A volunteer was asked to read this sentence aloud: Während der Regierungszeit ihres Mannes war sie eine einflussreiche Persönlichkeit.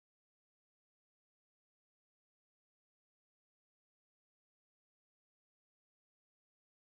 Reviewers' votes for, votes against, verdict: 0, 4, rejected